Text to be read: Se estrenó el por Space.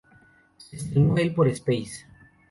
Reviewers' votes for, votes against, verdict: 0, 2, rejected